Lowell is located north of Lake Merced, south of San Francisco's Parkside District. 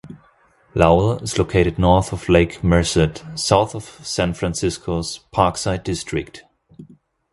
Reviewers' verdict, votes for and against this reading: accepted, 2, 0